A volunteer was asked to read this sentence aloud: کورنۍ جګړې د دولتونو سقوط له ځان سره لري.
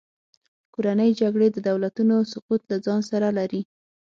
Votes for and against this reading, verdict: 6, 0, accepted